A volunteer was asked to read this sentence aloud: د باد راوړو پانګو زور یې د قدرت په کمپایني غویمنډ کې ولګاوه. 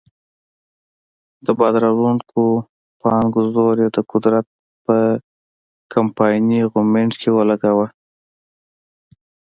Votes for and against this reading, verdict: 2, 0, accepted